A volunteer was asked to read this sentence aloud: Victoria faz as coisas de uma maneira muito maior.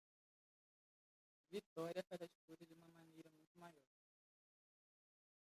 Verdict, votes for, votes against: rejected, 0, 2